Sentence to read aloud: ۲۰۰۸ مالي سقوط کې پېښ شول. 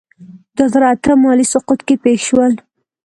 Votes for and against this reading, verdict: 0, 2, rejected